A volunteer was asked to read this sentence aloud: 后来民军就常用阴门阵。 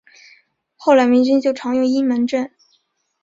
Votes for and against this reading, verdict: 5, 0, accepted